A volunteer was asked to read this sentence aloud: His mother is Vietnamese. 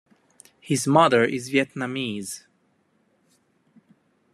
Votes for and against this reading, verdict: 2, 0, accepted